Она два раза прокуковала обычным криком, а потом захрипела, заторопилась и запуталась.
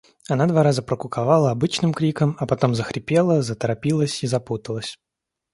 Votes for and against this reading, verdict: 2, 0, accepted